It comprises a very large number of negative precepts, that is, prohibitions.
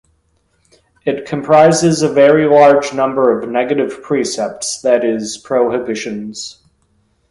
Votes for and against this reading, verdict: 2, 0, accepted